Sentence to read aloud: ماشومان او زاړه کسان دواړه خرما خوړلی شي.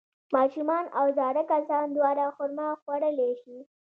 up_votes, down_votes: 2, 0